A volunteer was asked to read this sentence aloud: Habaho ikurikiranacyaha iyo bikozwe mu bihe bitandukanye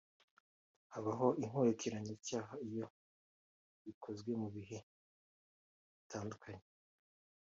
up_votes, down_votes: 1, 2